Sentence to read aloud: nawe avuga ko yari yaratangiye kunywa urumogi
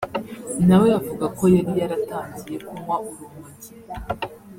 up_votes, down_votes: 2, 1